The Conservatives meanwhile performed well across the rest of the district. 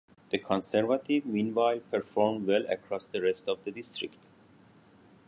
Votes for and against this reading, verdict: 0, 2, rejected